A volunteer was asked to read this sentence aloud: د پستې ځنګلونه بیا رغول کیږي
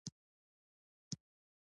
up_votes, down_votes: 0, 2